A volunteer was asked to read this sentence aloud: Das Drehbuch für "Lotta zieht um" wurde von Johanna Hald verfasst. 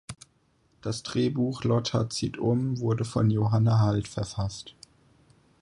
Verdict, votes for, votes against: rejected, 0, 4